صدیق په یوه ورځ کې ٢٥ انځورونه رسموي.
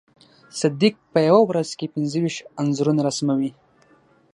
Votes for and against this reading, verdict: 0, 2, rejected